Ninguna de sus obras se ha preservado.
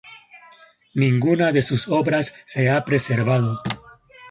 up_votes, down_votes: 2, 0